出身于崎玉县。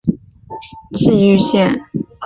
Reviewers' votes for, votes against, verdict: 0, 2, rejected